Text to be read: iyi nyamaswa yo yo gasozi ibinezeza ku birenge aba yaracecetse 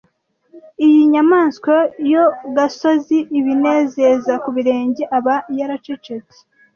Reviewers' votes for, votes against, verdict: 1, 2, rejected